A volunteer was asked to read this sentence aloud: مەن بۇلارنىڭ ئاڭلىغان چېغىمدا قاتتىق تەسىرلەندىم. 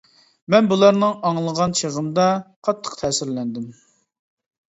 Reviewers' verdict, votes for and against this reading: accepted, 2, 0